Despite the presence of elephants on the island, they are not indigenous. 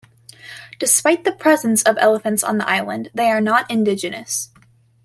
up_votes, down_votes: 2, 0